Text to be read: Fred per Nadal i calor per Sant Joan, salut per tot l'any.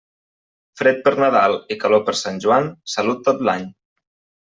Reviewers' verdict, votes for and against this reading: rejected, 0, 2